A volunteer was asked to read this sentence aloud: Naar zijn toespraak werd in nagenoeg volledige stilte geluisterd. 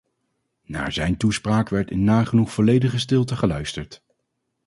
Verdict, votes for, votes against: accepted, 2, 0